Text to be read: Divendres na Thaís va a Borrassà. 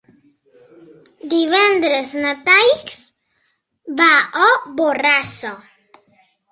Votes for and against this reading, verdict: 2, 3, rejected